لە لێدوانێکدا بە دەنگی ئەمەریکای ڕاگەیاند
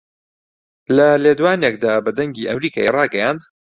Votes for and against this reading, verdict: 2, 0, accepted